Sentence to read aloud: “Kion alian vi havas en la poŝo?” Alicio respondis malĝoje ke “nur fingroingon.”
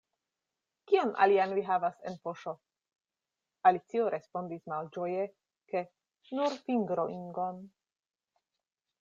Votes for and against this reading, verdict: 1, 2, rejected